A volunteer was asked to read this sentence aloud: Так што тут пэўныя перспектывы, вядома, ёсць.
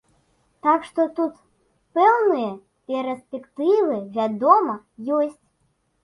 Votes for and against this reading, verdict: 0, 2, rejected